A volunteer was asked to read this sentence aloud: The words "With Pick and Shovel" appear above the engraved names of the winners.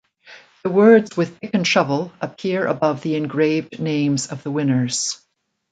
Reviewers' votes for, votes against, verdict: 1, 2, rejected